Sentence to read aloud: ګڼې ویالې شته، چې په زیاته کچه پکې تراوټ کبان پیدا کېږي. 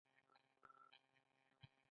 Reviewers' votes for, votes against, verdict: 1, 2, rejected